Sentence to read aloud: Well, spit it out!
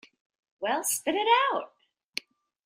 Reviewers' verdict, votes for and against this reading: accepted, 3, 1